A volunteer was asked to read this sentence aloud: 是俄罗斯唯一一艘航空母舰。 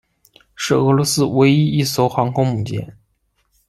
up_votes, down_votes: 2, 0